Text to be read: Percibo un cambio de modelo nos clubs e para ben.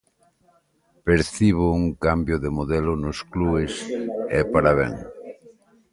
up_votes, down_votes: 0, 2